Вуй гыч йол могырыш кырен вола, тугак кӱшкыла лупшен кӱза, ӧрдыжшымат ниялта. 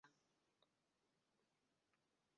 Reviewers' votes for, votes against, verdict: 0, 2, rejected